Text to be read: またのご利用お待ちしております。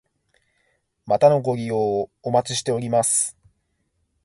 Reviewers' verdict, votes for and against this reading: accepted, 2, 0